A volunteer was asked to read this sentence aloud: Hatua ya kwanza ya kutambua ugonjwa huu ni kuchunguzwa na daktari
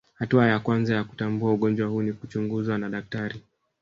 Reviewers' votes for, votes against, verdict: 0, 2, rejected